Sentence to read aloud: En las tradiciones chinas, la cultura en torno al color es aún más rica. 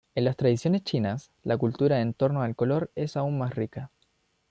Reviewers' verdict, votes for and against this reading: rejected, 1, 2